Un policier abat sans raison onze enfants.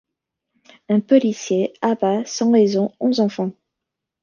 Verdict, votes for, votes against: accepted, 2, 0